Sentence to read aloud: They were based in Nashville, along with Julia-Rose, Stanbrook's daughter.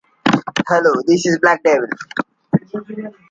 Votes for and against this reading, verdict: 0, 2, rejected